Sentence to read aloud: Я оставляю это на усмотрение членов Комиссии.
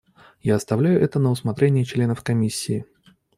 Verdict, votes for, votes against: accepted, 2, 0